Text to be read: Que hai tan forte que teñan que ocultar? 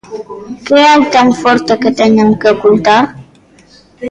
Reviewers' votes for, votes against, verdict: 0, 2, rejected